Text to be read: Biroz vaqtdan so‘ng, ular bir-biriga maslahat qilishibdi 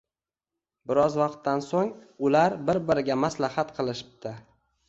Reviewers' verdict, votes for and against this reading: rejected, 1, 2